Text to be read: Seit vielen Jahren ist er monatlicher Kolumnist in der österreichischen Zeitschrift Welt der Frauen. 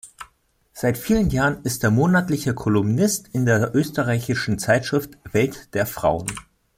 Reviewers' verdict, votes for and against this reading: accepted, 3, 0